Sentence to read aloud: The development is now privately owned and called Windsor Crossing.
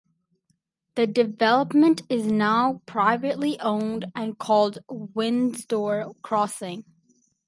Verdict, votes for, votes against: rejected, 4, 6